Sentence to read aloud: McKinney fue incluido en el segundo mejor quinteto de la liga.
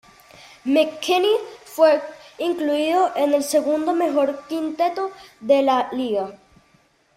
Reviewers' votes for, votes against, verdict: 1, 2, rejected